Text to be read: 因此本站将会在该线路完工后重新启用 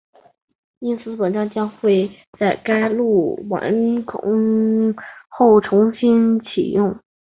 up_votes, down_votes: 4, 1